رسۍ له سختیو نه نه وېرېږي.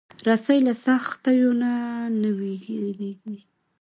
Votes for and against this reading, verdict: 2, 0, accepted